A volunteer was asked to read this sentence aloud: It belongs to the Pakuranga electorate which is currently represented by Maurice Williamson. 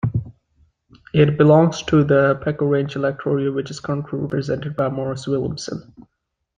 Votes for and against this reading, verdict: 2, 1, accepted